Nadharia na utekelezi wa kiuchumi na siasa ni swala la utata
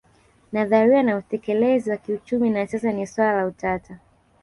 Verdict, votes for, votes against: accepted, 2, 1